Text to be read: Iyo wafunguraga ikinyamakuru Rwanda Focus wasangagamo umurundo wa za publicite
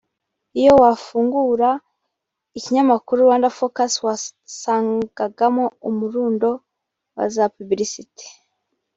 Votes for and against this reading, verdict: 1, 2, rejected